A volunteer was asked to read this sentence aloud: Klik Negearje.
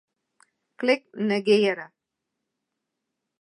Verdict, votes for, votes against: rejected, 0, 2